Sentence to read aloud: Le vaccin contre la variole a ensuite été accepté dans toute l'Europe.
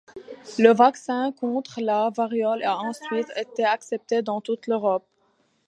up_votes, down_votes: 0, 2